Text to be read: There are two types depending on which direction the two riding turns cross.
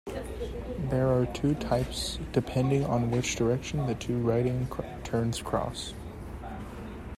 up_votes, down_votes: 1, 2